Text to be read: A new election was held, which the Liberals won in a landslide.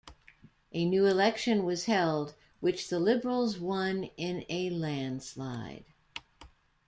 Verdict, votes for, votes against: accepted, 2, 0